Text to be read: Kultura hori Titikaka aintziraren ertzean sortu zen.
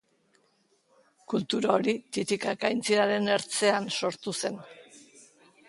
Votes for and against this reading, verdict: 3, 1, accepted